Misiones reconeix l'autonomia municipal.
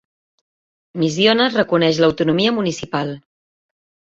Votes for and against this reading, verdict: 2, 0, accepted